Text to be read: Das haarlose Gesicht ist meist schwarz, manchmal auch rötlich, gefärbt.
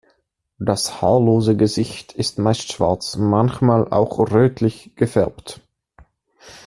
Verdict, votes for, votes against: accepted, 2, 0